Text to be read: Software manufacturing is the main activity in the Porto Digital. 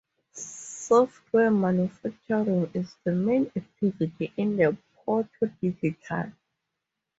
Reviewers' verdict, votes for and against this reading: rejected, 2, 2